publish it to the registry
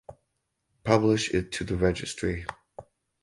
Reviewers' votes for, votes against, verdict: 4, 0, accepted